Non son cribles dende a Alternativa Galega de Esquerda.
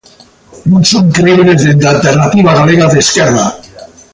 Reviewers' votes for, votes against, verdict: 1, 2, rejected